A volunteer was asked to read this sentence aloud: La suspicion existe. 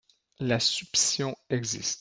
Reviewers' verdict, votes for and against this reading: rejected, 1, 3